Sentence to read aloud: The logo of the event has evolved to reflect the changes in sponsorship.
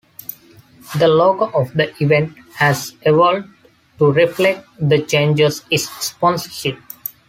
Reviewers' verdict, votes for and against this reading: rejected, 0, 2